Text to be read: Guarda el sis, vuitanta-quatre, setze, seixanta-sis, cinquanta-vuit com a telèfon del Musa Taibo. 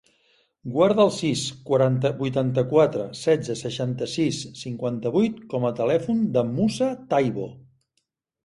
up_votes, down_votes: 0, 2